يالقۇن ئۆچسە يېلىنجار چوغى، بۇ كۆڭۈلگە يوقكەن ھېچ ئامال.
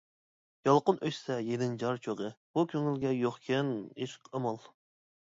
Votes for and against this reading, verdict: 2, 0, accepted